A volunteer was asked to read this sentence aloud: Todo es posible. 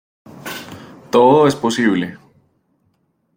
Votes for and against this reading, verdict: 2, 0, accepted